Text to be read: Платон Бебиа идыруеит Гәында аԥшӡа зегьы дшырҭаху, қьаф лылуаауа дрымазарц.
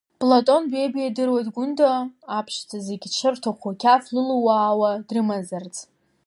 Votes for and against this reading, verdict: 0, 2, rejected